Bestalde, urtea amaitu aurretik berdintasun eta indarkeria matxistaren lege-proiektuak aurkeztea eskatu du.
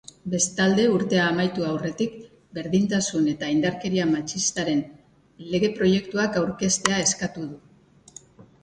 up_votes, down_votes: 3, 0